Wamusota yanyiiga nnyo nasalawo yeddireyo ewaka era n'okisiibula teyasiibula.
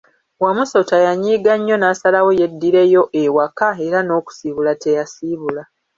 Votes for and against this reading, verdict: 2, 1, accepted